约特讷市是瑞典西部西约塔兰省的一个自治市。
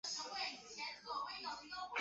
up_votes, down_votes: 0, 2